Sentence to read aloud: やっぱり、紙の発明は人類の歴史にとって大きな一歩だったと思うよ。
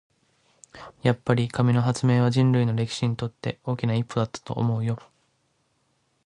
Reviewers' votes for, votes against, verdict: 2, 2, rejected